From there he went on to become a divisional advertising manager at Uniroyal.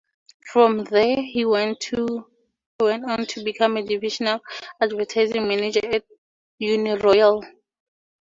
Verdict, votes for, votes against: rejected, 2, 12